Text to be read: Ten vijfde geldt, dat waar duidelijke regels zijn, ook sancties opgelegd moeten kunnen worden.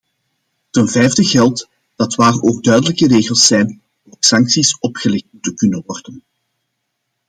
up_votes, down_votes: 1, 2